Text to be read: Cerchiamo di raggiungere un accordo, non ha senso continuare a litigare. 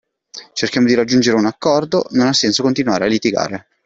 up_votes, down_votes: 2, 0